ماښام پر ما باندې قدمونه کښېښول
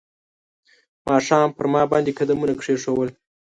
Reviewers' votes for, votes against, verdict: 2, 0, accepted